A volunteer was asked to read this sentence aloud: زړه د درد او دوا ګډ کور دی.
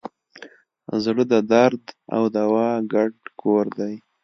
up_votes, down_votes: 2, 0